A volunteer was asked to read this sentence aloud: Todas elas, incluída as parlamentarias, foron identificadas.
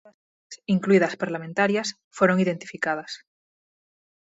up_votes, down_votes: 0, 6